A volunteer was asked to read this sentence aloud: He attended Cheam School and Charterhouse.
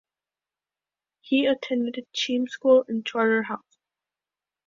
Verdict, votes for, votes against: rejected, 0, 2